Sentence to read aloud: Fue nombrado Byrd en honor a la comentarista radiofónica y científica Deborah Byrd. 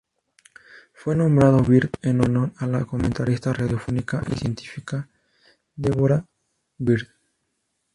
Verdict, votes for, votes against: rejected, 2, 2